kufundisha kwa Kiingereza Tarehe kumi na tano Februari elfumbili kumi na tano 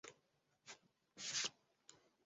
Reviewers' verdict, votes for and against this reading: rejected, 0, 2